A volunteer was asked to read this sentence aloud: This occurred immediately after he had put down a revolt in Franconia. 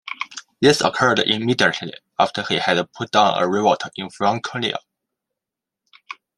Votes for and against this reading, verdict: 2, 1, accepted